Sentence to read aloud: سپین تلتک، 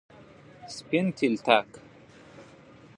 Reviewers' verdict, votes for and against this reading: accepted, 2, 0